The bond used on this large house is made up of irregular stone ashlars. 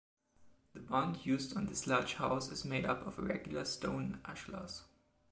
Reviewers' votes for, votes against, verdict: 3, 1, accepted